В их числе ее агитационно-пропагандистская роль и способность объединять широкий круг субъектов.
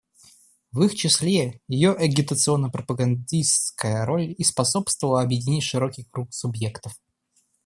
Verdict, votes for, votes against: rejected, 0, 2